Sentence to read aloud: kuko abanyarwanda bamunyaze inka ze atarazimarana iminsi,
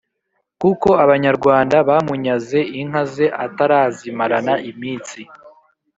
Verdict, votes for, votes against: accepted, 5, 0